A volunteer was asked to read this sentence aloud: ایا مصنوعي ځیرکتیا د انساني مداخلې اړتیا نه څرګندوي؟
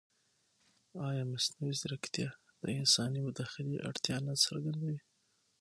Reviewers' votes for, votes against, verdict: 6, 0, accepted